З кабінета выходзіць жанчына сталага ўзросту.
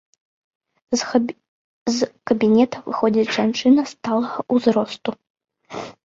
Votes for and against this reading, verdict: 0, 2, rejected